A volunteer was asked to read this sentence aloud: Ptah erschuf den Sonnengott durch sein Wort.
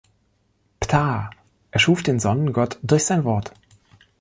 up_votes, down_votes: 2, 0